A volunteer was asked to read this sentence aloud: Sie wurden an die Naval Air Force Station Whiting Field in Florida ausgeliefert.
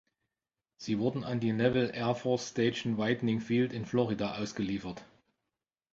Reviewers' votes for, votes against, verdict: 1, 2, rejected